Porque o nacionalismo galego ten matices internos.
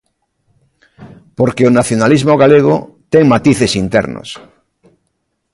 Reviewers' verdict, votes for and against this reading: accepted, 2, 0